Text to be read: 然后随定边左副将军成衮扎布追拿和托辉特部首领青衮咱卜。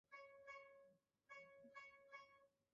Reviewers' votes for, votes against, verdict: 0, 2, rejected